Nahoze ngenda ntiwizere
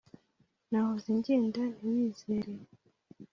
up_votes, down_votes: 2, 0